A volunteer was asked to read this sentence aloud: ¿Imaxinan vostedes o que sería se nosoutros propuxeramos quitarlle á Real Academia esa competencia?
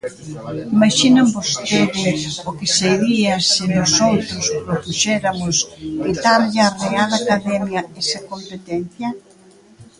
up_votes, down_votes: 0, 2